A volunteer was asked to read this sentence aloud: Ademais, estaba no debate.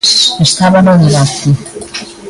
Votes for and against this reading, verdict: 0, 2, rejected